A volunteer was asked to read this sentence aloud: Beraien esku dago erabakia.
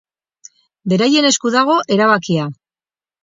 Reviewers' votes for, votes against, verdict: 4, 0, accepted